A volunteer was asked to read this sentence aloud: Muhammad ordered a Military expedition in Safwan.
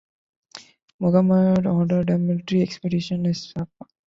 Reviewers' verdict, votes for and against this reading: rejected, 1, 2